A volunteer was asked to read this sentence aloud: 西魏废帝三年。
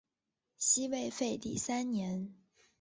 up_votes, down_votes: 6, 1